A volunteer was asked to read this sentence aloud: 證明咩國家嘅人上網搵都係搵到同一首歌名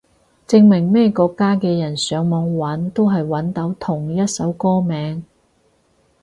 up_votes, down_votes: 4, 0